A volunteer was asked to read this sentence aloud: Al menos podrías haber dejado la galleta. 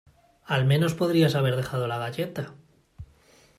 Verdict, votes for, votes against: accepted, 2, 1